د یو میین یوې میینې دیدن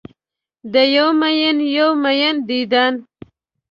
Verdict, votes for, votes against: rejected, 1, 2